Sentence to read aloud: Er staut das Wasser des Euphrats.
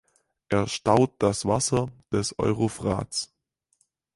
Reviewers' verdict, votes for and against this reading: rejected, 0, 4